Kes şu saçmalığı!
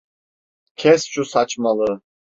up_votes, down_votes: 3, 0